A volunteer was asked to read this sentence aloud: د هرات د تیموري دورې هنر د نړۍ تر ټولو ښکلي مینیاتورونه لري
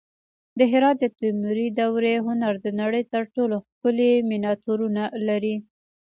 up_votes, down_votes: 2, 0